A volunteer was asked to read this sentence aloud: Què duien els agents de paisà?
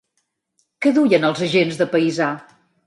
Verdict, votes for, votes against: accepted, 5, 1